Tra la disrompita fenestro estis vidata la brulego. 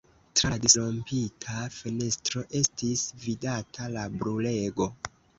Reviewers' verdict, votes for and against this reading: accepted, 2, 1